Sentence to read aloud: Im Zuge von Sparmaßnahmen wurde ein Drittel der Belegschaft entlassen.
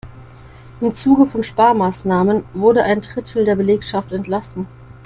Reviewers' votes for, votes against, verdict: 2, 0, accepted